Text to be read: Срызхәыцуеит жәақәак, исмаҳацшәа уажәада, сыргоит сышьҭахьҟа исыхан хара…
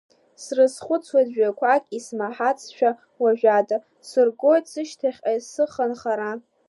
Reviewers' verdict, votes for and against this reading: accepted, 2, 0